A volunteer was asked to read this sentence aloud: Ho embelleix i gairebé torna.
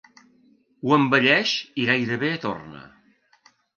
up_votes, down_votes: 2, 0